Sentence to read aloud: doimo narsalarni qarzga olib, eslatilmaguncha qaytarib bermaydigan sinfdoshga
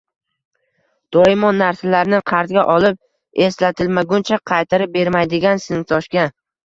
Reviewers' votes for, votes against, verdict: 0, 2, rejected